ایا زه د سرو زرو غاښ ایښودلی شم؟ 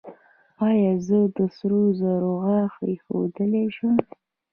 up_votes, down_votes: 1, 2